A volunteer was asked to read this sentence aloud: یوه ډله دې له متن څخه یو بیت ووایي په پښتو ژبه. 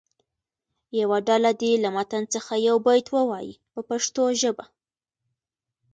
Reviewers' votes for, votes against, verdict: 2, 1, accepted